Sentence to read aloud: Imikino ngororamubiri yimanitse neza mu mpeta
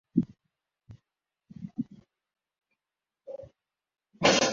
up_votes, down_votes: 0, 2